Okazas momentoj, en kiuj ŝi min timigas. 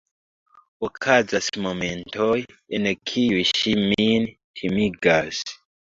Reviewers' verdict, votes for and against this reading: accepted, 2, 1